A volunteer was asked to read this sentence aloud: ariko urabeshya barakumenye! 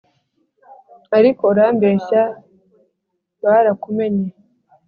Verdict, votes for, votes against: rejected, 1, 2